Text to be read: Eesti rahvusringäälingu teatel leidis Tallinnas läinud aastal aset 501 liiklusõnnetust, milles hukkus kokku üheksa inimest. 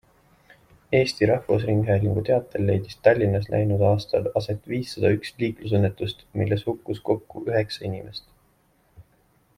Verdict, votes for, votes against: rejected, 0, 2